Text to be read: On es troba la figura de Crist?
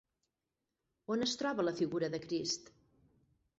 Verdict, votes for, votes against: rejected, 0, 4